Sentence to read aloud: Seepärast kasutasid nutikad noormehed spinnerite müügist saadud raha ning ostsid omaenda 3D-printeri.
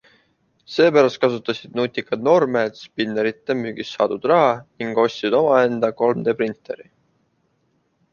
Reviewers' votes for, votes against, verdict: 0, 2, rejected